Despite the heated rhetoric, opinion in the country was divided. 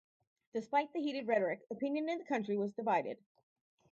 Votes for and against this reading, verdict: 4, 0, accepted